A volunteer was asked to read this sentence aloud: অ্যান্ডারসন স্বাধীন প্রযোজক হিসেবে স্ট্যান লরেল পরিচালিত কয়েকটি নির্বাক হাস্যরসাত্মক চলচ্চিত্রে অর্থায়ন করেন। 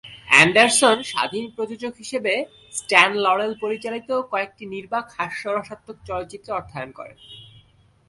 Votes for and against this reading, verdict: 2, 0, accepted